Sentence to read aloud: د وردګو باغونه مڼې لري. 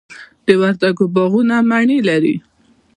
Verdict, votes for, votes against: rejected, 0, 2